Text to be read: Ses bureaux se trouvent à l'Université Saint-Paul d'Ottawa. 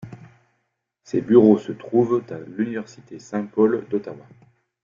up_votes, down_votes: 2, 0